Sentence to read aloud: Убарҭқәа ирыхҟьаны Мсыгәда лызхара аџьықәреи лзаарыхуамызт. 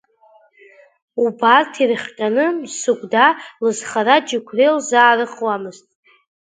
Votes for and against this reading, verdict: 2, 3, rejected